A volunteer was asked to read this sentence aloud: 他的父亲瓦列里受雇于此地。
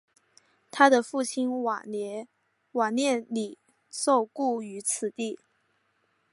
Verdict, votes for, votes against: rejected, 2, 3